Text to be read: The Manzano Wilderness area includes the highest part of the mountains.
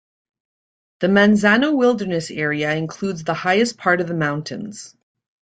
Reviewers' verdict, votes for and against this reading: rejected, 1, 2